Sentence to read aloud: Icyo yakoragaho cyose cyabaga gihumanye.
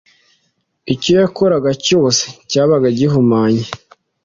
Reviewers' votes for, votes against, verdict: 1, 2, rejected